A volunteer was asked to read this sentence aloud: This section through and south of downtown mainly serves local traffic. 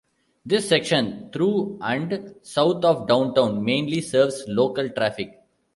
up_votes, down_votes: 2, 1